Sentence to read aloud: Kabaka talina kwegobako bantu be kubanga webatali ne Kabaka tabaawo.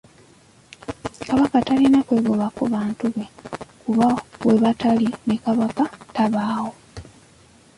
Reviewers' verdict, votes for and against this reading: rejected, 1, 2